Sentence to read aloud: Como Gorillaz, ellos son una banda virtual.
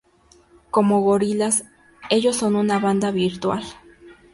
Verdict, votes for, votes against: accepted, 2, 0